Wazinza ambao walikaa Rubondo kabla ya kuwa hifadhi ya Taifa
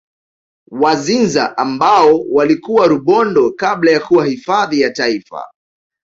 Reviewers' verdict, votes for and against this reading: rejected, 1, 2